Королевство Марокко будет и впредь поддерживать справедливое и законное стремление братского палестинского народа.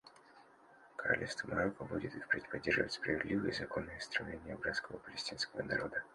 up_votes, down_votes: 1, 2